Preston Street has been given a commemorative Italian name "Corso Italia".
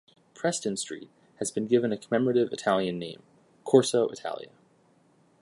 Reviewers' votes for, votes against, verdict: 1, 2, rejected